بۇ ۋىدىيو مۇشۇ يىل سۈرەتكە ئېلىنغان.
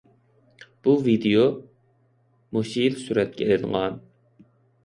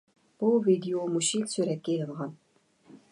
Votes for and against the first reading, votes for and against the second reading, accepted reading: 2, 0, 1, 2, first